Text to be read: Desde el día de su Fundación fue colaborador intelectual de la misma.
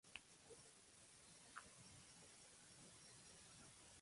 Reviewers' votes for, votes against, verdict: 0, 2, rejected